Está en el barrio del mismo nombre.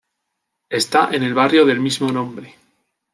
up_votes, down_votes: 2, 0